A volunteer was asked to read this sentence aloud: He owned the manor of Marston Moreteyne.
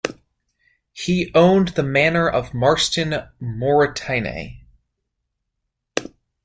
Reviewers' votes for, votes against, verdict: 2, 1, accepted